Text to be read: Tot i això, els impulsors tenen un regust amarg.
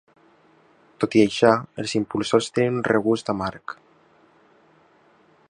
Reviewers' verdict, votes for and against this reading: accepted, 2, 1